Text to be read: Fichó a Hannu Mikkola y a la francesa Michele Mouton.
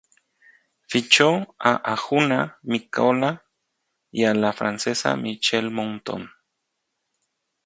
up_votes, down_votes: 0, 2